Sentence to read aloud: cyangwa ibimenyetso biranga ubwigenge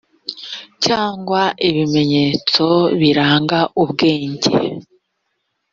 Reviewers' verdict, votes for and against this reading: rejected, 1, 3